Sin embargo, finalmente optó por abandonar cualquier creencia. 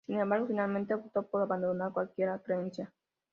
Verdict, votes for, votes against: accepted, 2, 1